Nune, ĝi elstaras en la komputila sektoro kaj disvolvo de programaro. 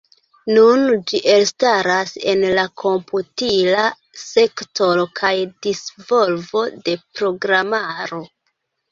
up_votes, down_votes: 0, 2